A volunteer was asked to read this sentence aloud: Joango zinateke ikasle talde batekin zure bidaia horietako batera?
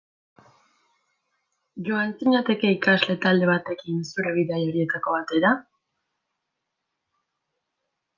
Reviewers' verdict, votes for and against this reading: rejected, 0, 2